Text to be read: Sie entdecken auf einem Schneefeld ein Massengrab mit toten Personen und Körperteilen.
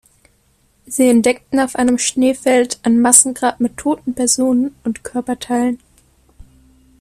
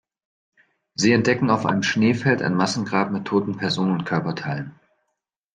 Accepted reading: second